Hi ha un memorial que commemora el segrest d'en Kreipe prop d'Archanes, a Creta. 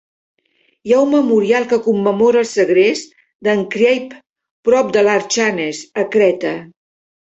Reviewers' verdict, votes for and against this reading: rejected, 1, 2